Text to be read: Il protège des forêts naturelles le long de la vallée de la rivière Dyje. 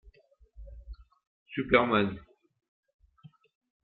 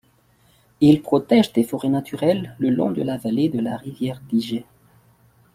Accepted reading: second